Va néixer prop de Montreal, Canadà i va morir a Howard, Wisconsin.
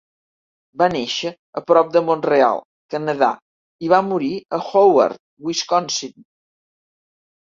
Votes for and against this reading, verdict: 1, 2, rejected